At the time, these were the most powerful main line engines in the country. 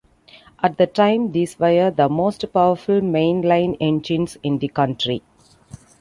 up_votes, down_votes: 2, 0